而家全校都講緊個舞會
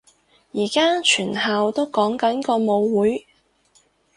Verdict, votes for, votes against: accepted, 6, 0